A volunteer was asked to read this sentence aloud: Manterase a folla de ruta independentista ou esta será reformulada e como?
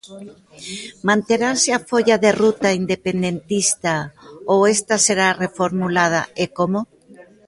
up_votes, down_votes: 0, 2